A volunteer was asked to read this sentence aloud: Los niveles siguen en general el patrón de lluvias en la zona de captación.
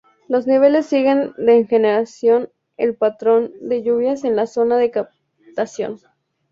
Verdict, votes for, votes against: rejected, 0, 4